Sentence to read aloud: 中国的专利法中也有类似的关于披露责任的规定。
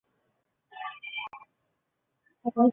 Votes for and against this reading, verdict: 0, 3, rejected